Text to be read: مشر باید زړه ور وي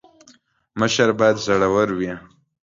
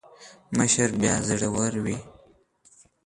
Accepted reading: first